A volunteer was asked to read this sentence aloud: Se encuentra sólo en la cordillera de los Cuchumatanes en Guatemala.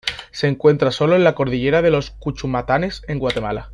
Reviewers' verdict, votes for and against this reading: accepted, 2, 0